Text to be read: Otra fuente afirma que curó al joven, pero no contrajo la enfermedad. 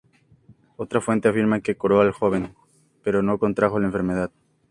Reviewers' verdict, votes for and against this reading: accepted, 4, 0